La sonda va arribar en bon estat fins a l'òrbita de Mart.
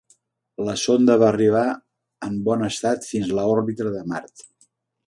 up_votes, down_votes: 1, 2